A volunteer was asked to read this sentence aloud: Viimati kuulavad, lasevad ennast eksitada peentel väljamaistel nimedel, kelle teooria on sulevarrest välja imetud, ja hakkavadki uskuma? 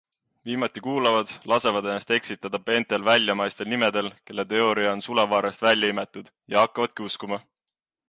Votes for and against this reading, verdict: 2, 0, accepted